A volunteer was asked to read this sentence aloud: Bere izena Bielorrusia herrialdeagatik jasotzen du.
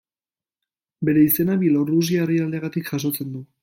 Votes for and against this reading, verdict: 0, 2, rejected